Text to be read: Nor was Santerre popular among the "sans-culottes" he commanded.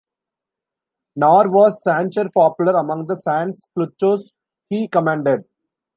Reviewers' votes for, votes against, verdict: 1, 2, rejected